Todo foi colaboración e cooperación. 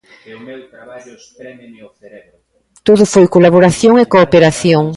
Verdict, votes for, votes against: rejected, 0, 2